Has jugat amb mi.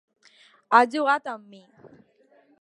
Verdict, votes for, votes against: accepted, 2, 1